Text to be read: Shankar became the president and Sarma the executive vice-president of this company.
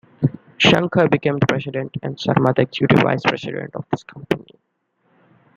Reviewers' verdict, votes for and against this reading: rejected, 0, 2